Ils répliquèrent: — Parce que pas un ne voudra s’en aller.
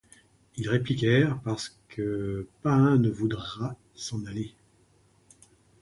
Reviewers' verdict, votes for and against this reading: accepted, 2, 0